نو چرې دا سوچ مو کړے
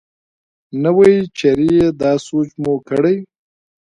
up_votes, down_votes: 0, 2